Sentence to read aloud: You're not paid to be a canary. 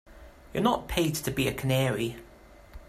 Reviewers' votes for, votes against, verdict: 2, 0, accepted